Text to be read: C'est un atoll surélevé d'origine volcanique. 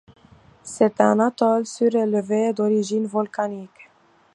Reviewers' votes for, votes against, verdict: 2, 0, accepted